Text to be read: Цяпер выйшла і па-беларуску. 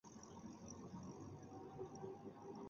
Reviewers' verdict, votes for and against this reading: rejected, 0, 2